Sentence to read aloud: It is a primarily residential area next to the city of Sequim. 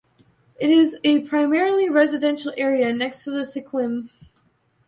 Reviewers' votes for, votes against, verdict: 1, 2, rejected